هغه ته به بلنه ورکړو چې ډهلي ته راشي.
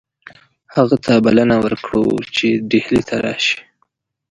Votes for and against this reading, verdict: 1, 2, rejected